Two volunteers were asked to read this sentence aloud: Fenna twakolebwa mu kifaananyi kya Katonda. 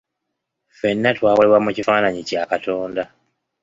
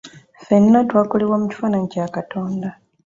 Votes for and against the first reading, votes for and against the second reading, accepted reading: 1, 2, 2, 0, second